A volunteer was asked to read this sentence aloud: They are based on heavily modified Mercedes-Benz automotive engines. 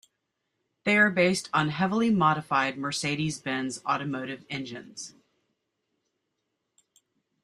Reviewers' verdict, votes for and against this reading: accepted, 2, 0